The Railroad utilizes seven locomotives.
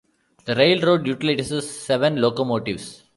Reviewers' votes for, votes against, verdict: 0, 2, rejected